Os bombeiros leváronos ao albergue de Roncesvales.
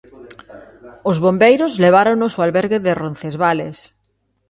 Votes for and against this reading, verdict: 2, 0, accepted